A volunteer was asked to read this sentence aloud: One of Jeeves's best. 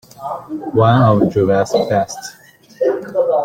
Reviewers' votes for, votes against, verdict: 0, 2, rejected